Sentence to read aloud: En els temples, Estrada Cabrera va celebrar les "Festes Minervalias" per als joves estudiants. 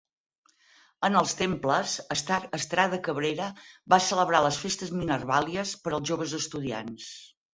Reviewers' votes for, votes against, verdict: 2, 4, rejected